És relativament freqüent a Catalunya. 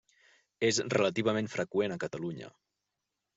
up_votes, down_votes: 3, 0